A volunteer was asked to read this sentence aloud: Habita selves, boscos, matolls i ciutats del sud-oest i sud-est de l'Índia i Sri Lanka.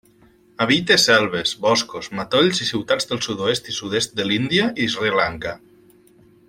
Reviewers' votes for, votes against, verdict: 2, 0, accepted